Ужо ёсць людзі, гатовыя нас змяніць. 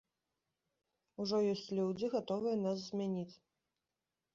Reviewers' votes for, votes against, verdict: 2, 0, accepted